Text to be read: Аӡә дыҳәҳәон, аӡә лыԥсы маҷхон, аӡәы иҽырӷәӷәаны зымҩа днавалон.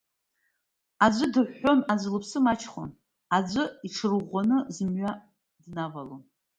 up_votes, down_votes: 1, 2